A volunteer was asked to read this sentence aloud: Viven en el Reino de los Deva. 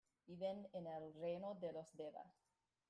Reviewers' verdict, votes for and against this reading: rejected, 1, 2